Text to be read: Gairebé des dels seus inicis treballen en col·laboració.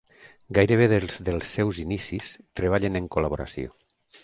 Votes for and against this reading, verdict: 3, 2, accepted